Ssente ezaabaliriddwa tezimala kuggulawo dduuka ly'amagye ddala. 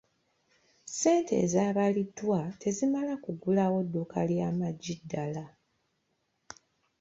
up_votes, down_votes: 1, 2